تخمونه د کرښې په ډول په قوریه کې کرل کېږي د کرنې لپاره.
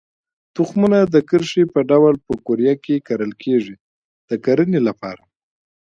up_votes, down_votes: 2, 0